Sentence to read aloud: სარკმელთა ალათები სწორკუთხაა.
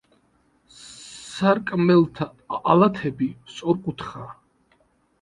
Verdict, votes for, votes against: rejected, 1, 2